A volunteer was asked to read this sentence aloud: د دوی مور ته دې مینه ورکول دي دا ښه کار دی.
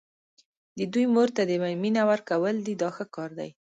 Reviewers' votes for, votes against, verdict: 0, 2, rejected